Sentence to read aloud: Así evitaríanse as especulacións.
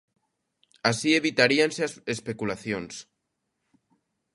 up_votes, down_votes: 2, 1